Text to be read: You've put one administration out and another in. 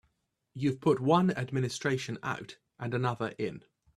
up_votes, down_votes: 3, 0